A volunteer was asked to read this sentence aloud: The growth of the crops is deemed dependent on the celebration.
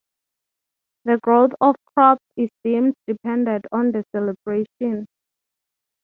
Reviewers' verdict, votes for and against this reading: rejected, 0, 3